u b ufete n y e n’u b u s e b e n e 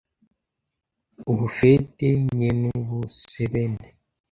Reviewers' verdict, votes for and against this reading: rejected, 0, 2